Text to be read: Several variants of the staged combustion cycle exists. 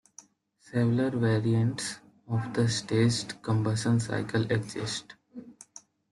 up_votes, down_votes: 2, 1